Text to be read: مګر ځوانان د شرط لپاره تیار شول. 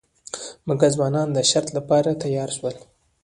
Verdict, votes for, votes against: accepted, 2, 1